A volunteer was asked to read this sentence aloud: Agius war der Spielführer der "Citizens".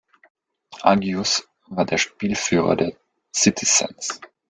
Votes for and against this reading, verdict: 2, 1, accepted